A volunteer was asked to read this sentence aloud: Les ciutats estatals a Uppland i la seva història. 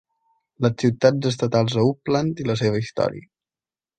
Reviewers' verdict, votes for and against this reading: accepted, 2, 0